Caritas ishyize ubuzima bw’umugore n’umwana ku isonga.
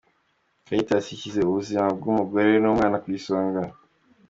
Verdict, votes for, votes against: accepted, 2, 0